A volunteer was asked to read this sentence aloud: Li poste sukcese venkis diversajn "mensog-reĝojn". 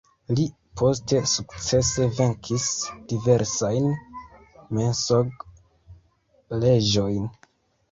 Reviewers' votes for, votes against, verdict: 1, 2, rejected